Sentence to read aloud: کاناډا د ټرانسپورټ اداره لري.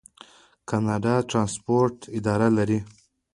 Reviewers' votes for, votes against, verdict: 2, 0, accepted